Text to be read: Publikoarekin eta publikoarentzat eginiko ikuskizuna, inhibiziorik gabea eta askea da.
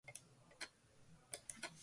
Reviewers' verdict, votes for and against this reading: rejected, 0, 2